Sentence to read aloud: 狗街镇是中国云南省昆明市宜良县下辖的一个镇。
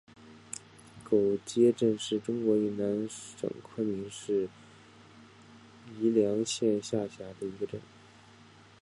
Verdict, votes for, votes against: rejected, 1, 2